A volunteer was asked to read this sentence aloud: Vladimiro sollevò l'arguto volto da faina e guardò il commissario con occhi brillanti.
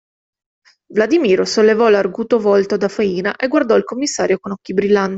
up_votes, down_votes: 0, 2